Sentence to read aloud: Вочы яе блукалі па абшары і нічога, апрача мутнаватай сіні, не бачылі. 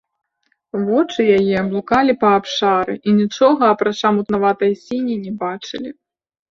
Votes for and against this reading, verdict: 3, 0, accepted